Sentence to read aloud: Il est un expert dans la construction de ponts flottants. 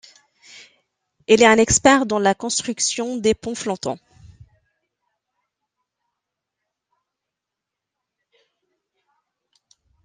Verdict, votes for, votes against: rejected, 1, 2